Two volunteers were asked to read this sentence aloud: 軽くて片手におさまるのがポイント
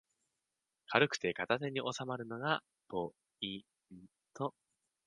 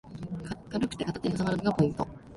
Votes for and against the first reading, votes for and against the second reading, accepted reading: 2, 0, 0, 2, first